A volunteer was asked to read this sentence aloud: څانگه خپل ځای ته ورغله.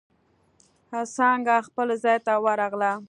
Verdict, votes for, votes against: rejected, 1, 2